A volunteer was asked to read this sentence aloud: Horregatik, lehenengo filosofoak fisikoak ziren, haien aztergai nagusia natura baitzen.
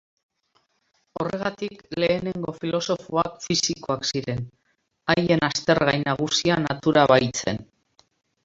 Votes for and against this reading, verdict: 0, 2, rejected